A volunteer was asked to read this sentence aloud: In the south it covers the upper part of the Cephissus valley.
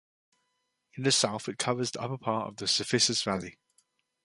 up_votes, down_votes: 1, 2